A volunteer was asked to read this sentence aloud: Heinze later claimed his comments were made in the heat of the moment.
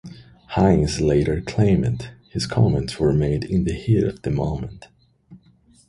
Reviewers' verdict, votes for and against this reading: accepted, 2, 0